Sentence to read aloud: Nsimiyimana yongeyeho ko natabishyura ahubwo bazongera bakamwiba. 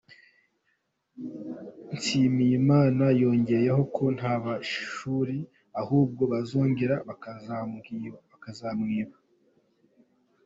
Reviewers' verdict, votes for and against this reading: rejected, 0, 2